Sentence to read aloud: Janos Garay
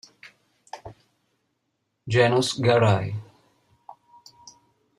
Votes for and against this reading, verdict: 1, 2, rejected